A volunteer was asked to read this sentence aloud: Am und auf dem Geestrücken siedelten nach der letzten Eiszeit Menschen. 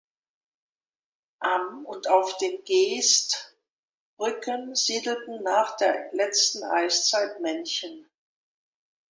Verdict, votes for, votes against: rejected, 0, 2